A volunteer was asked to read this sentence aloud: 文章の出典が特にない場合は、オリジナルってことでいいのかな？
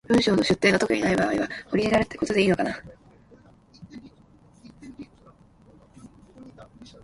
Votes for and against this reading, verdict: 0, 2, rejected